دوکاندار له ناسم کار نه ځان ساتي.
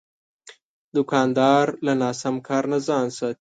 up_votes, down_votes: 1, 2